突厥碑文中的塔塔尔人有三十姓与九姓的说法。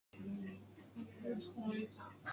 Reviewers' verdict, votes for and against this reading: rejected, 1, 3